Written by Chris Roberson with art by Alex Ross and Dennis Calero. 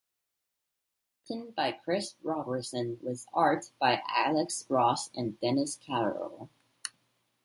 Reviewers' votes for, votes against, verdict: 0, 2, rejected